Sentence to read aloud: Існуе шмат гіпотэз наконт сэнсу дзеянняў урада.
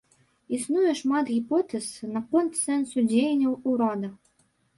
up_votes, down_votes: 3, 1